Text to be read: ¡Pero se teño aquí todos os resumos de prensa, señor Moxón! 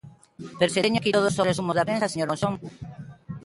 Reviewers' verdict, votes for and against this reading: rejected, 1, 2